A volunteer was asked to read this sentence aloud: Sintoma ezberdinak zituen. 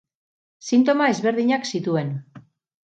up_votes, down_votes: 6, 0